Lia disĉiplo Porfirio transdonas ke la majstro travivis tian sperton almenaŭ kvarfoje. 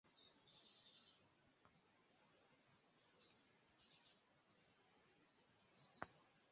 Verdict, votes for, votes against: rejected, 0, 2